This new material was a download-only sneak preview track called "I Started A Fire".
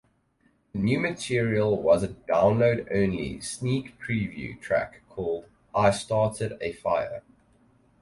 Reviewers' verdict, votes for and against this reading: rejected, 2, 4